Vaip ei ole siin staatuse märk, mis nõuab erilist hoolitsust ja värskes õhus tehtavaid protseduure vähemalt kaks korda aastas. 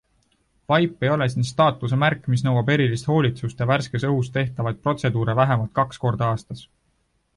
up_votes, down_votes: 2, 0